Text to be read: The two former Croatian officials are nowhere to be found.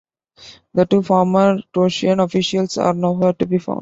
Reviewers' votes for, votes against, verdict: 3, 0, accepted